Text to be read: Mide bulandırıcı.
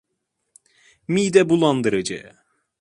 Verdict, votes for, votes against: accepted, 2, 0